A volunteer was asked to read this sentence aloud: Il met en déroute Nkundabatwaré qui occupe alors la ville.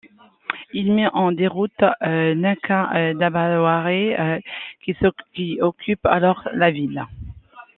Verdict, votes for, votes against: rejected, 0, 2